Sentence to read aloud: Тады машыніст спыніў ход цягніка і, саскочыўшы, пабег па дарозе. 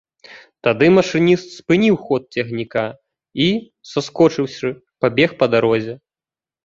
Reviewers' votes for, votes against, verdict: 2, 0, accepted